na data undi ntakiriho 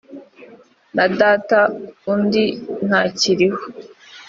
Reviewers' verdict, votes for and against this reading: accepted, 2, 0